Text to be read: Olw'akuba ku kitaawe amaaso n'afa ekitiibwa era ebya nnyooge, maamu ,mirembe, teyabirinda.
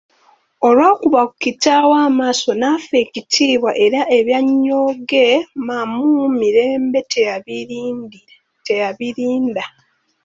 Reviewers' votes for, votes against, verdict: 0, 2, rejected